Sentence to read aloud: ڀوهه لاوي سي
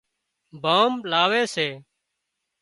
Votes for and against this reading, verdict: 3, 0, accepted